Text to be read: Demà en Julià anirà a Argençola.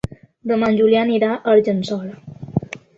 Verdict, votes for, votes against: accepted, 2, 0